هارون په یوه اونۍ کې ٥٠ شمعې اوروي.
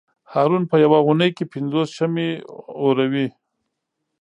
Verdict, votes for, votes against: rejected, 0, 2